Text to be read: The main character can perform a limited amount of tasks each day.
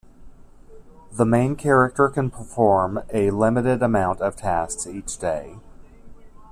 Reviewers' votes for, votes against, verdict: 2, 0, accepted